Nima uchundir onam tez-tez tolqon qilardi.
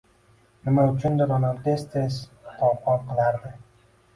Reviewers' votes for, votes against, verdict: 2, 0, accepted